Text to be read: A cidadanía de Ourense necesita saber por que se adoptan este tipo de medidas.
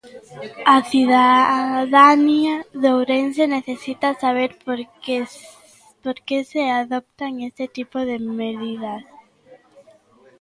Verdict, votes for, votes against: rejected, 1, 2